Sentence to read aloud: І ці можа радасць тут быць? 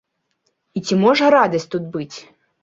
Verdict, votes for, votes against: accepted, 2, 0